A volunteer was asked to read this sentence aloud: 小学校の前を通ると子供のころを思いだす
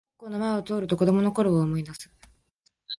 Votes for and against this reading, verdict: 0, 2, rejected